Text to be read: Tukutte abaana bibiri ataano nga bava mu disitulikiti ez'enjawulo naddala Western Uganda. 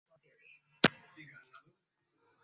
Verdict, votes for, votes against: rejected, 0, 2